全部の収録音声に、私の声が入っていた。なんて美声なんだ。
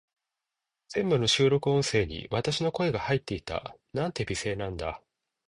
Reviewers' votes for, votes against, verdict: 2, 0, accepted